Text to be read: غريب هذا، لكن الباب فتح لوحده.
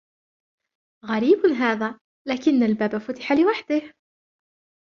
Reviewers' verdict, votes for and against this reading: accepted, 2, 1